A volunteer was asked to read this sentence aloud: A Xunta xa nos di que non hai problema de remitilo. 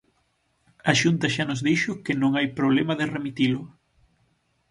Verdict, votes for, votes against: rejected, 0, 6